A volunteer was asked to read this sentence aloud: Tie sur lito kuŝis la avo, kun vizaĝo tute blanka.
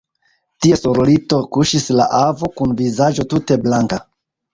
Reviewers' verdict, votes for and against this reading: accepted, 2, 0